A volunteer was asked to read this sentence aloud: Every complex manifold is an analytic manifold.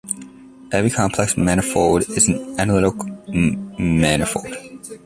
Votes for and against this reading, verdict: 1, 2, rejected